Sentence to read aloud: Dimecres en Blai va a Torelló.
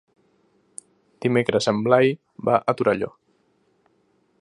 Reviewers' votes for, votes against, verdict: 3, 0, accepted